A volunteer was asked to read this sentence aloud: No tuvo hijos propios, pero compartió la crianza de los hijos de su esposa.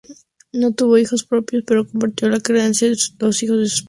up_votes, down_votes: 0, 2